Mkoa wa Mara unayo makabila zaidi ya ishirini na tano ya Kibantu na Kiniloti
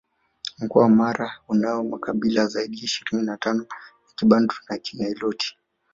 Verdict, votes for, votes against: accepted, 2, 1